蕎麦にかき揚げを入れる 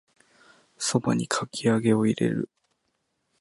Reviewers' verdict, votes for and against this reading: rejected, 1, 2